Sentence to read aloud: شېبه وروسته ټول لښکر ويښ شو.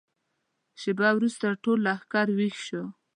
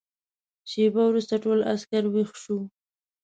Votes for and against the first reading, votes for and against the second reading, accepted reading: 4, 0, 1, 2, first